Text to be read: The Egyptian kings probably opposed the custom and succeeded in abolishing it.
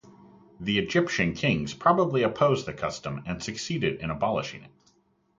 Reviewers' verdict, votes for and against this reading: rejected, 0, 2